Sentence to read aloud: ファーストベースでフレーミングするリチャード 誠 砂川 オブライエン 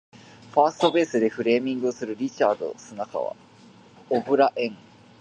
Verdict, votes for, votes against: rejected, 0, 2